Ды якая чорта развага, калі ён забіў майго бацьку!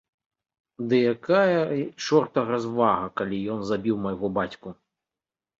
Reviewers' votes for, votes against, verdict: 0, 2, rejected